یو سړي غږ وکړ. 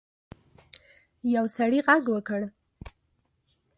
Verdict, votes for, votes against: accepted, 2, 0